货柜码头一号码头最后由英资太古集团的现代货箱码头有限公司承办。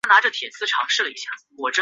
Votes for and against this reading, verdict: 1, 2, rejected